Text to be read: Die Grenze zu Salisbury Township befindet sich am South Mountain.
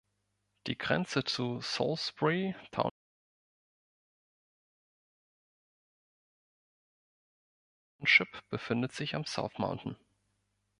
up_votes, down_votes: 0, 2